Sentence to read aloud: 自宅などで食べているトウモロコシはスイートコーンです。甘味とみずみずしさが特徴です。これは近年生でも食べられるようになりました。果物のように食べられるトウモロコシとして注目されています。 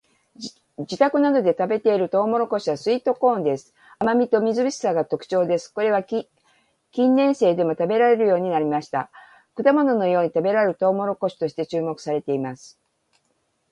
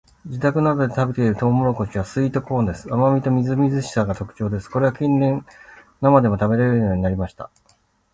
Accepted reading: first